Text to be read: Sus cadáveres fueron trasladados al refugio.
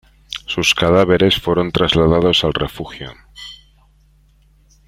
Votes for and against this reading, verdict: 2, 0, accepted